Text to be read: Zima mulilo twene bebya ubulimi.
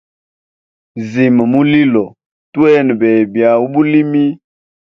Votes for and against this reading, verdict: 2, 0, accepted